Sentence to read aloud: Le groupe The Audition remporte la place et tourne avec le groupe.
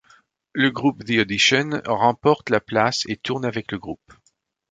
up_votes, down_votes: 2, 0